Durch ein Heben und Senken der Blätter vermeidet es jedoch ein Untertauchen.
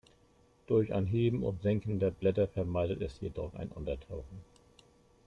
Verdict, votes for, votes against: accepted, 2, 0